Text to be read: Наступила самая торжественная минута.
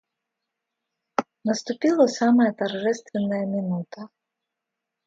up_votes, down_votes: 2, 0